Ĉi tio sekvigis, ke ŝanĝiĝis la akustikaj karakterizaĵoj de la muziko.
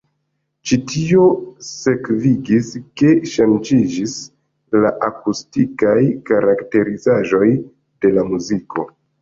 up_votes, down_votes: 1, 3